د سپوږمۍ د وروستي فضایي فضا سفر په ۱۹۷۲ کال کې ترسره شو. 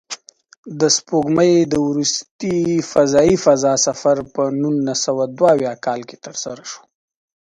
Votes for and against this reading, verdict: 0, 2, rejected